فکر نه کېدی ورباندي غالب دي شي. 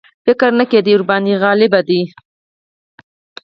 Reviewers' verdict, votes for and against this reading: rejected, 2, 4